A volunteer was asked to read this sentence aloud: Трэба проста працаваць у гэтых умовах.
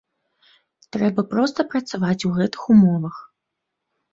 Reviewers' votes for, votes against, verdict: 2, 0, accepted